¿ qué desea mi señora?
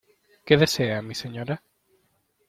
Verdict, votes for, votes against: accepted, 2, 0